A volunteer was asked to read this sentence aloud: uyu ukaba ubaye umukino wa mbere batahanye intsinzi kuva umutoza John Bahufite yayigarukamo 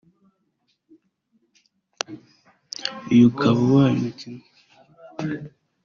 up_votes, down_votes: 1, 2